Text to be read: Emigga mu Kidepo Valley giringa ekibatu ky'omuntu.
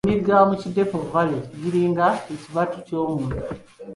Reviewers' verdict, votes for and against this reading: accepted, 2, 1